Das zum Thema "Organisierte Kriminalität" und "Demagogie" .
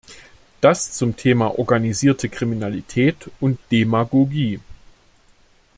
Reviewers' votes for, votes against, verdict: 2, 0, accepted